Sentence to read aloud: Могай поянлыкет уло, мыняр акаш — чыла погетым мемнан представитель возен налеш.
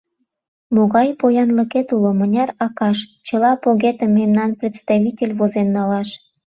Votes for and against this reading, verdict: 0, 2, rejected